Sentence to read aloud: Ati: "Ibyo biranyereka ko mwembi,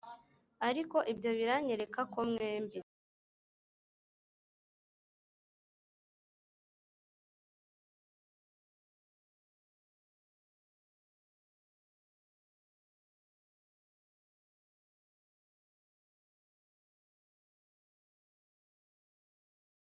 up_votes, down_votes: 2, 3